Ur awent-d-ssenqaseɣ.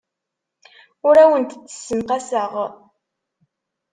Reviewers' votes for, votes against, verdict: 2, 0, accepted